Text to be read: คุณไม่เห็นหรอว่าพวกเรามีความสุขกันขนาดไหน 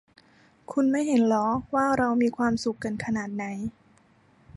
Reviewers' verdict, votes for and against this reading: rejected, 0, 2